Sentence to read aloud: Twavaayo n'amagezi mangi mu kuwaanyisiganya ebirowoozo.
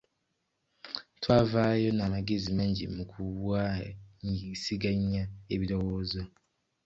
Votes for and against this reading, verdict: 0, 2, rejected